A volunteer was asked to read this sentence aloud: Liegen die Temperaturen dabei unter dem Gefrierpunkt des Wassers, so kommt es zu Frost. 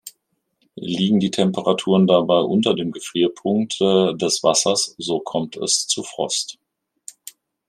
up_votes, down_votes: 1, 2